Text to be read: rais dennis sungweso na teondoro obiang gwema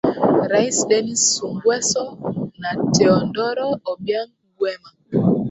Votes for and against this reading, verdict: 2, 1, accepted